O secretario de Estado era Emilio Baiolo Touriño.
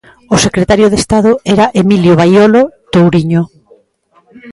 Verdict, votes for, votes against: rejected, 0, 2